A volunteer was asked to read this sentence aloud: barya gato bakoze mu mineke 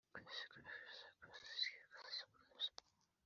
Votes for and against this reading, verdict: 1, 3, rejected